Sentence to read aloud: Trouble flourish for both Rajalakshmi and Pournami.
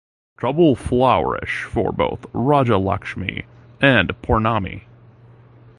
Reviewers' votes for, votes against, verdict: 2, 1, accepted